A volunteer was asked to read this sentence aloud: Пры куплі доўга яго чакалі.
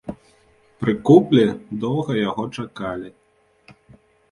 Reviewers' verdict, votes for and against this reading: accepted, 2, 0